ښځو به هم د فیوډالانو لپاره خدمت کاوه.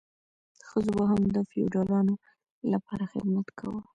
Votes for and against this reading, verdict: 1, 2, rejected